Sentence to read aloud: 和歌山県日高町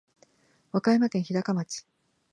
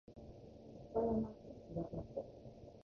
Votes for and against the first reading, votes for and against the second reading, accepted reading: 2, 0, 0, 2, first